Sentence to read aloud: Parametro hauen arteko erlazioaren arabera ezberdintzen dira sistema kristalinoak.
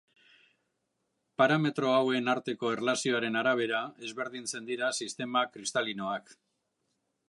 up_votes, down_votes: 2, 0